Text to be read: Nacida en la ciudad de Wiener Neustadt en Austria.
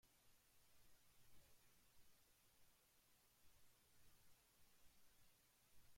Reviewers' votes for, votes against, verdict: 0, 2, rejected